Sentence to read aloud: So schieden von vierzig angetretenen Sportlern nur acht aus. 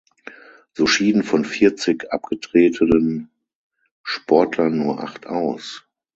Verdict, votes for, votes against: rejected, 0, 6